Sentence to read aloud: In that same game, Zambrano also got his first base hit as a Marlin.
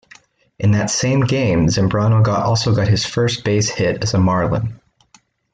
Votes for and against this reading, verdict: 1, 2, rejected